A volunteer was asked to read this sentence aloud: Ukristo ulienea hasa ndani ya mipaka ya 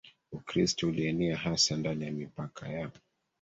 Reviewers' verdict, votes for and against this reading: accepted, 3, 1